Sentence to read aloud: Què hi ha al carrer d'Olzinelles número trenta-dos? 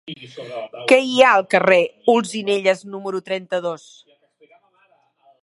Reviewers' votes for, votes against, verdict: 0, 2, rejected